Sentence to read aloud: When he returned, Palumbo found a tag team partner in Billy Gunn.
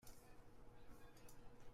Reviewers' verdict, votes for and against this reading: rejected, 0, 2